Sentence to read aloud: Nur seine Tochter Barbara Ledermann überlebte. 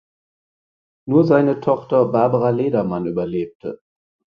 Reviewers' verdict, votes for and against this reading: accepted, 4, 0